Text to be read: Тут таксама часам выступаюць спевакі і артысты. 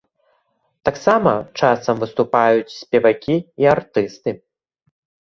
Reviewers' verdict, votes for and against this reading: rejected, 0, 2